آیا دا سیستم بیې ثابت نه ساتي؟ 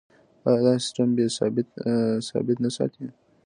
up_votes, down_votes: 2, 0